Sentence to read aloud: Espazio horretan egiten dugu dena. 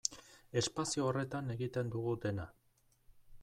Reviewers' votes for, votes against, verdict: 2, 0, accepted